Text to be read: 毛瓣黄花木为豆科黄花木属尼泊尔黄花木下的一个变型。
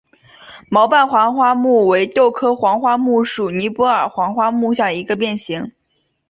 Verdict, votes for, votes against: accepted, 2, 0